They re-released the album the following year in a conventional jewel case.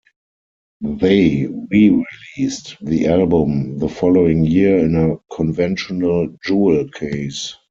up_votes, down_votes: 4, 0